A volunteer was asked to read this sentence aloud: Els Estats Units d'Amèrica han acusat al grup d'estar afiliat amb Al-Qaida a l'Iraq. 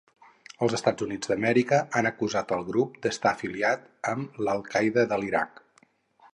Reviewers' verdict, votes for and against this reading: rejected, 2, 2